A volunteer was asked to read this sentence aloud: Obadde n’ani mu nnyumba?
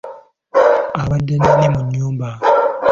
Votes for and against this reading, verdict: 1, 2, rejected